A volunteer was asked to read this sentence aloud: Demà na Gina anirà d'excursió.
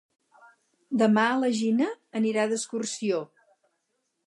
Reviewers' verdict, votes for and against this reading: rejected, 2, 4